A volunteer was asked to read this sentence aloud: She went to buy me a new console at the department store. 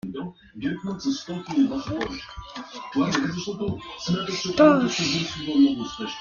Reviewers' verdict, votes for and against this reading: rejected, 0, 2